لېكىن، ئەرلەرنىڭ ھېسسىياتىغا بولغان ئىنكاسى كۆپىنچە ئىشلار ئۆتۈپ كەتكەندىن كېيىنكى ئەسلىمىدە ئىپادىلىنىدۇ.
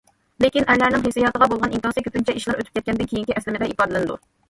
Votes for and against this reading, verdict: 1, 2, rejected